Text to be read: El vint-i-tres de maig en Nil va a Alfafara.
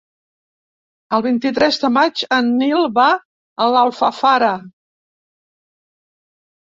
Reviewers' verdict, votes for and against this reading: rejected, 0, 2